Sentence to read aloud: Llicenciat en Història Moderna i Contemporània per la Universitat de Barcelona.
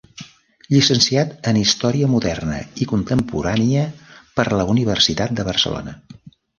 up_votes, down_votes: 3, 0